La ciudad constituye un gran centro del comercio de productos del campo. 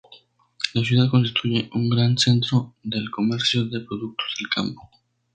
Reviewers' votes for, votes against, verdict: 0, 2, rejected